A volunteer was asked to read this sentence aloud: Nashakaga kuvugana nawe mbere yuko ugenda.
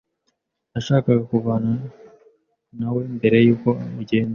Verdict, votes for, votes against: rejected, 0, 2